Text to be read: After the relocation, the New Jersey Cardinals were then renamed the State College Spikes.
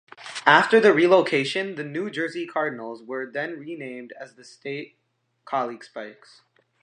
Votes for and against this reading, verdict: 2, 3, rejected